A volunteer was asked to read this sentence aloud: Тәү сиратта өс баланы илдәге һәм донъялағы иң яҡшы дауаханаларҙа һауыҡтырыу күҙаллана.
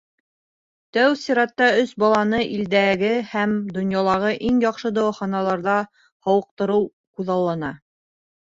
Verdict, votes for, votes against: accepted, 3, 0